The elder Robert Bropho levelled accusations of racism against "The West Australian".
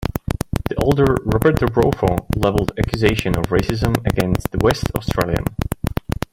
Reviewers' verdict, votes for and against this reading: rejected, 1, 2